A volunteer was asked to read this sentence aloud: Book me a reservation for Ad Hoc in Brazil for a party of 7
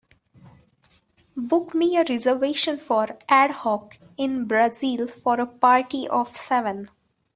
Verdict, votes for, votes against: rejected, 0, 2